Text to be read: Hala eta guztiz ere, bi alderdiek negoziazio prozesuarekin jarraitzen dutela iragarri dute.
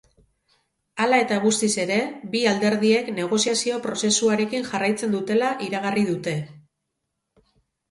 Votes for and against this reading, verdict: 4, 0, accepted